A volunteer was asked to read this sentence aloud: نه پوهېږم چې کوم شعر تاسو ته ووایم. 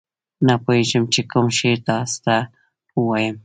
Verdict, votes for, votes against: accepted, 2, 0